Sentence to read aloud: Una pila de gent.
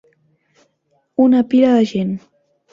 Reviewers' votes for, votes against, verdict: 2, 1, accepted